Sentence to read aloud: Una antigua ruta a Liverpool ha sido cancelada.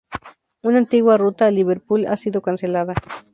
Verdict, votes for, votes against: accepted, 2, 0